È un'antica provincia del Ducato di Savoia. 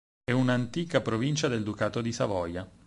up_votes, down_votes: 4, 0